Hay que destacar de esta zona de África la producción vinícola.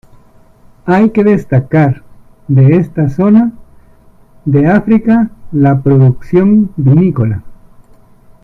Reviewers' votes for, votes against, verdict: 1, 2, rejected